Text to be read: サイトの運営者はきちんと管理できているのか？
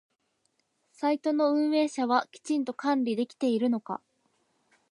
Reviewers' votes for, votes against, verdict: 60, 12, accepted